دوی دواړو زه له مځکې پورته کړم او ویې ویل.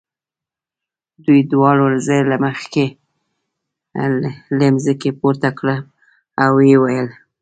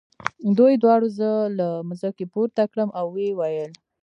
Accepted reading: second